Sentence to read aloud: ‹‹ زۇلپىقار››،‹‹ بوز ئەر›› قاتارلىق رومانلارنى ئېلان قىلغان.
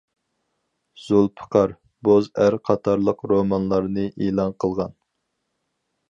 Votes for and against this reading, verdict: 0, 4, rejected